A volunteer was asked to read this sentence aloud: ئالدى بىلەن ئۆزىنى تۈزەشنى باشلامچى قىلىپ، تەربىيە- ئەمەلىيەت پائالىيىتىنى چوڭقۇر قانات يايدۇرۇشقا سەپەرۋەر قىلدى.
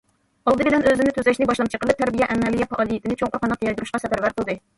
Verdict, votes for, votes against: rejected, 1, 2